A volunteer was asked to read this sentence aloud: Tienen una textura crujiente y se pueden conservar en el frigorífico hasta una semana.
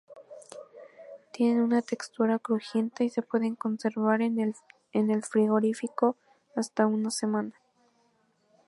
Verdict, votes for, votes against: rejected, 0, 2